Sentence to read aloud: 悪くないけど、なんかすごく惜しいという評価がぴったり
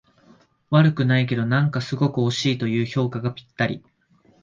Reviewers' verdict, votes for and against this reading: rejected, 1, 2